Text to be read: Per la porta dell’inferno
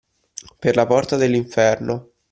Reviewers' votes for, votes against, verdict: 2, 0, accepted